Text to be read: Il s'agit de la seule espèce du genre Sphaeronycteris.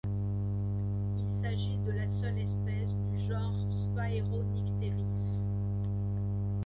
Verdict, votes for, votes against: accepted, 2, 0